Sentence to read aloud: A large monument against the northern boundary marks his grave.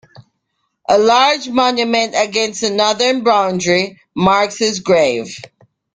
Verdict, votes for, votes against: accepted, 2, 0